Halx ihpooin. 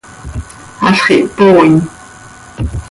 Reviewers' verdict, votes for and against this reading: accepted, 2, 0